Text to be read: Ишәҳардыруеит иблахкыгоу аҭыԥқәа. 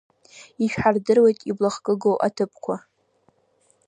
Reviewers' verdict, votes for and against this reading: accepted, 2, 0